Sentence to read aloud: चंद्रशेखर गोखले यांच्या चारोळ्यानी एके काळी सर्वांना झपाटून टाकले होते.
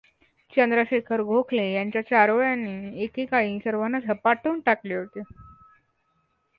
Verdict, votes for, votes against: accepted, 2, 0